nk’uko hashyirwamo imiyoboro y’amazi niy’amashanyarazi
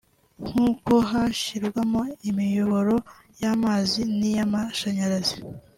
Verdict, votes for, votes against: accepted, 2, 1